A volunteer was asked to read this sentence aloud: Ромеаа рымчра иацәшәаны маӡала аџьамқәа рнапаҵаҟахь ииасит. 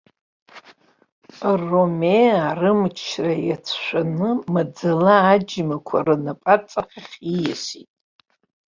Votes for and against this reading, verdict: 1, 2, rejected